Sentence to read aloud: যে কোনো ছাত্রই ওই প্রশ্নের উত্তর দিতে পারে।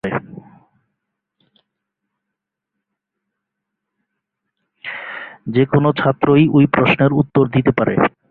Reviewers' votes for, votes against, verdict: 4, 0, accepted